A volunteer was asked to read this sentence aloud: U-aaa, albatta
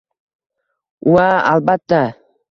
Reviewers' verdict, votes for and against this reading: rejected, 1, 2